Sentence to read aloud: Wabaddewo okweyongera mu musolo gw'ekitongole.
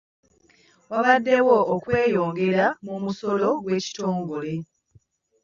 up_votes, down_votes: 1, 2